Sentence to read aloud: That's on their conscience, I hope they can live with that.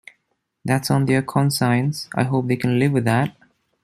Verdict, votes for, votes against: rejected, 1, 2